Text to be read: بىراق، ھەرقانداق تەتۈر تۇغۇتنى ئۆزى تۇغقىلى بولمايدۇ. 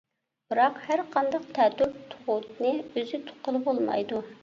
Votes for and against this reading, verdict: 1, 2, rejected